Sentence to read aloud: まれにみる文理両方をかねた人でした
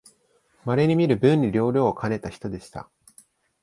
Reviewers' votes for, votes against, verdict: 1, 2, rejected